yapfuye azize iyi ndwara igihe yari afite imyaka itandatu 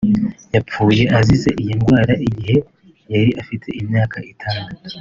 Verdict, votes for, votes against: rejected, 1, 2